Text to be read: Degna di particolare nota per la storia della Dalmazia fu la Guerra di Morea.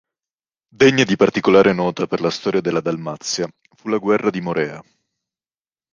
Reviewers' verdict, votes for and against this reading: accepted, 2, 0